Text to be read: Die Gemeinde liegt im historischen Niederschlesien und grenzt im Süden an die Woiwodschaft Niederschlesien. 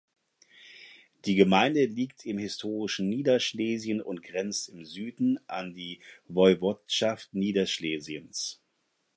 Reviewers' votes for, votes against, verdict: 0, 4, rejected